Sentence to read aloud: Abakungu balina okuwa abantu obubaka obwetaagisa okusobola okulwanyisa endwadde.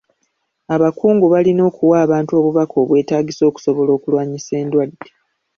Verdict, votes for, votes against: accepted, 3, 0